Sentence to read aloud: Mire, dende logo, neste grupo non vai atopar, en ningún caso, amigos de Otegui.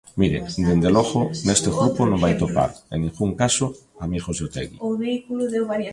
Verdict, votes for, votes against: rejected, 0, 2